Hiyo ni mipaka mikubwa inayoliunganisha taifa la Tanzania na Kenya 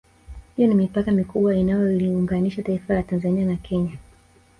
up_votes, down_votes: 2, 0